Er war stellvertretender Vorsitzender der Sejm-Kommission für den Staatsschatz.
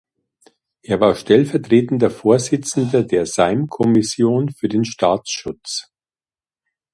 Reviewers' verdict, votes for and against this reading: rejected, 0, 2